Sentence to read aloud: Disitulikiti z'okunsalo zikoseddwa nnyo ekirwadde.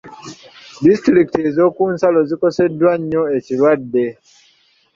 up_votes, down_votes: 1, 2